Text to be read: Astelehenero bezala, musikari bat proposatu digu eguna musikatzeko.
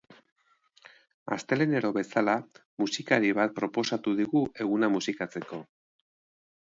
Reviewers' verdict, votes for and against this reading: accepted, 2, 0